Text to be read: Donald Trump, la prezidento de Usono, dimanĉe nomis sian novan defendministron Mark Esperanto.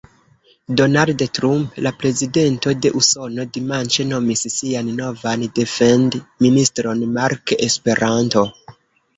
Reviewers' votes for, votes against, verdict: 0, 2, rejected